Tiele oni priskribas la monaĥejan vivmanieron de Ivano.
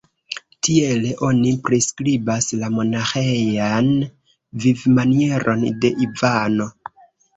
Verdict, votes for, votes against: rejected, 0, 2